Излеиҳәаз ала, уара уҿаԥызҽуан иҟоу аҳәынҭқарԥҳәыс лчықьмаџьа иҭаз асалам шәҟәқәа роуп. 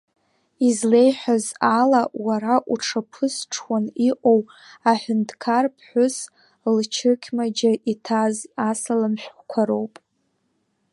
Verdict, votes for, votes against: rejected, 1, 2